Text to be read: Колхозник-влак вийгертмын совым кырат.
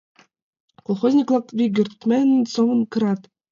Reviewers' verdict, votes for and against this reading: rejected, 1, 2